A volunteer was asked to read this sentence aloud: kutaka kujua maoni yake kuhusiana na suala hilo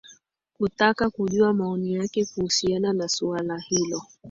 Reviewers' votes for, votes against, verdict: 1, 2, rejected